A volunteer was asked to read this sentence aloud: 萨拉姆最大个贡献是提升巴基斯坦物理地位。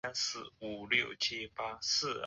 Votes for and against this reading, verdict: 1, 2, rejected